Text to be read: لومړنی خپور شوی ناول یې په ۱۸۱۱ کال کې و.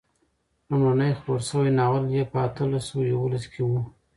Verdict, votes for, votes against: rejected, 0, 2